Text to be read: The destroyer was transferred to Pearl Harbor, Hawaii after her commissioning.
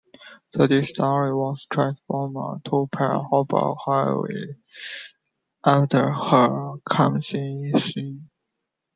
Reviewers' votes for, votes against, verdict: 0, 2, rejected